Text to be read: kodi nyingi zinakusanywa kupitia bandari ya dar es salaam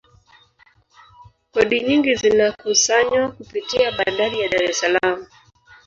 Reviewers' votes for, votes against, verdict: 1, 2, rejected